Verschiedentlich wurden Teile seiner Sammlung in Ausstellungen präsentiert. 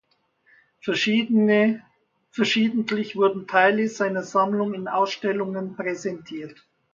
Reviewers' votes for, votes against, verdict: 0, 2, rejected